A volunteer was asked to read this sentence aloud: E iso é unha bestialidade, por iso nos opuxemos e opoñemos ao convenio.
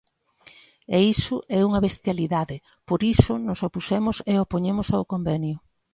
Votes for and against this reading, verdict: 2, 0, accepted